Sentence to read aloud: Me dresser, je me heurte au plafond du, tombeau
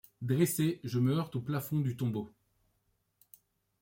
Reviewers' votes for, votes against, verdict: 1, 2, rejected